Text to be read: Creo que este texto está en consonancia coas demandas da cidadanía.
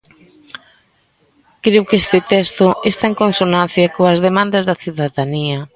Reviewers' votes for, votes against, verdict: 2, 0, accepted